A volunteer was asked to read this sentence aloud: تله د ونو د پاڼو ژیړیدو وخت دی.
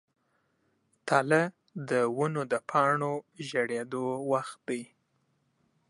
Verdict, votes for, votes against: accepted, 2, 1